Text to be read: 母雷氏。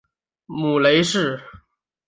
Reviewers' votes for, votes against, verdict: 3, 0, accepted